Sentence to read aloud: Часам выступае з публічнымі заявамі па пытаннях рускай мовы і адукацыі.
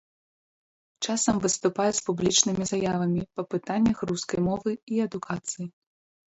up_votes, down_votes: 1, 2